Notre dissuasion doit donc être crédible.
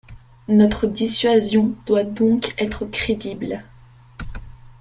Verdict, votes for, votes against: accepted, 2, 0